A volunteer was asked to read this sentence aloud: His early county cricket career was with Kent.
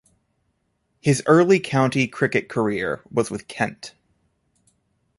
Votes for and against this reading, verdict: 2, 0, accepted